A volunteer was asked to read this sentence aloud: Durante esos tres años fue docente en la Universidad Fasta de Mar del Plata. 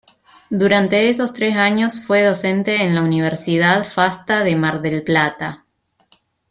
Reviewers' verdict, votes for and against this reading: accepted, 2, 0